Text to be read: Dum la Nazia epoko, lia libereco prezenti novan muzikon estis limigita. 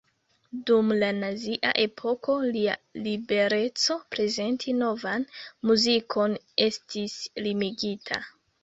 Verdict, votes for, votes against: accepted, 2, 0